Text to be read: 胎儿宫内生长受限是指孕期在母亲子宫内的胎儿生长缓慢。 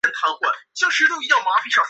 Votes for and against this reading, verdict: 0, 2, rejected